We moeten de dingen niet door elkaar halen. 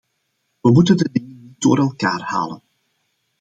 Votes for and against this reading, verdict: 0, 2, rejected